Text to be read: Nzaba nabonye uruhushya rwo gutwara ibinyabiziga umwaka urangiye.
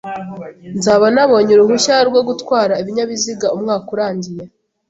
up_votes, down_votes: 2, 0